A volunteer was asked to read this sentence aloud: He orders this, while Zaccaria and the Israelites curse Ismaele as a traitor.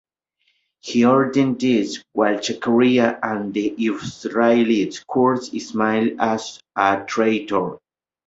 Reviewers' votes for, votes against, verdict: 2, 1, accepted